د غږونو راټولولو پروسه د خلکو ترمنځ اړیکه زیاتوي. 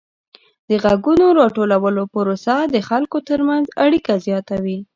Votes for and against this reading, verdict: 2, 0, accepted